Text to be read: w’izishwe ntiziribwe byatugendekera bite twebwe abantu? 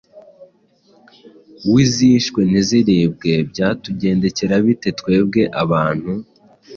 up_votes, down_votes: 2, 0